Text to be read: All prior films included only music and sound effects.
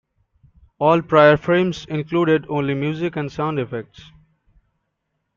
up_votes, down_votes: 0, 3